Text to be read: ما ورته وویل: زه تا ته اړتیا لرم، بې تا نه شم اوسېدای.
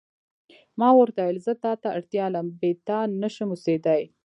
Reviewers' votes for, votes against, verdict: 0, 2, rejected